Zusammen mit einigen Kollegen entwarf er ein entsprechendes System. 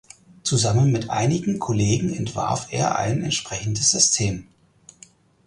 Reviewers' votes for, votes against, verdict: 4, 0, accepted